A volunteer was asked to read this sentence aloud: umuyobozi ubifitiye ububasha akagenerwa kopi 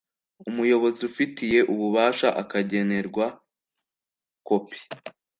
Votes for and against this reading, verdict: 1, 2, rejected